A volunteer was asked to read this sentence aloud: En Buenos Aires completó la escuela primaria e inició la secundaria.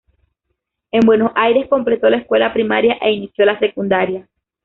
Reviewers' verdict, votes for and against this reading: rejected, 0, 2